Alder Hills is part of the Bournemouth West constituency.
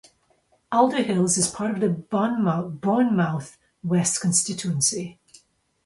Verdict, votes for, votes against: rejected, 0, 2